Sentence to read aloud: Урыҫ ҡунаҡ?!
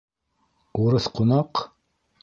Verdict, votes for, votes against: accepted, 2, 0